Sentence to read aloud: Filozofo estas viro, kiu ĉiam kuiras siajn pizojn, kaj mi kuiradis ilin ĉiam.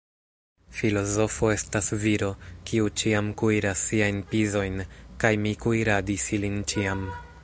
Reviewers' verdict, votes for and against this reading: rejected, 1, 2